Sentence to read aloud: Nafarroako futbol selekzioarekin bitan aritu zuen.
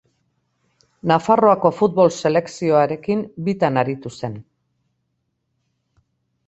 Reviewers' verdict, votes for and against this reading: rejected, 0, 2